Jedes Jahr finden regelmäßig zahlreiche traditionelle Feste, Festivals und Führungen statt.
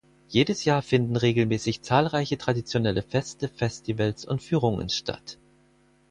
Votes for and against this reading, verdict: 4, 0, accepted